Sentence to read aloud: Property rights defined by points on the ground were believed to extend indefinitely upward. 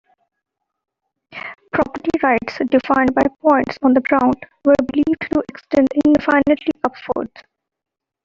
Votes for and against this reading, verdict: 0, 2, rejected